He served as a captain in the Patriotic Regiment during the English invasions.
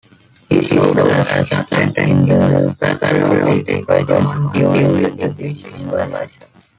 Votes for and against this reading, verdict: 1, 2, rejected